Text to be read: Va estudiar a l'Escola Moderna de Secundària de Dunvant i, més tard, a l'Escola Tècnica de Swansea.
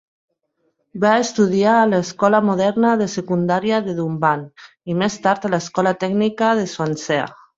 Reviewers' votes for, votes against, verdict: 3, 2, accepted